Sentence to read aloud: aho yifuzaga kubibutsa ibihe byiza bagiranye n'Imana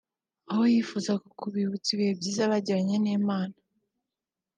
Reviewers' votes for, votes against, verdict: 2, 0, accepted